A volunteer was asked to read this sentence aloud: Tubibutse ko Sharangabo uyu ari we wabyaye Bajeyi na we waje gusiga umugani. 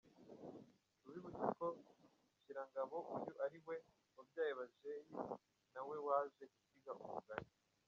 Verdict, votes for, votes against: accepted, 2, 1